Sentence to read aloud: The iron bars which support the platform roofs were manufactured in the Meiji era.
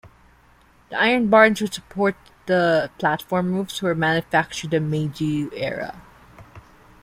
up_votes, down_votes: 0, 2